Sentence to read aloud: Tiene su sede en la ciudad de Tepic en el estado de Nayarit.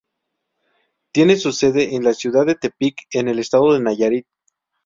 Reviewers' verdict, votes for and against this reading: accepted, 2, 0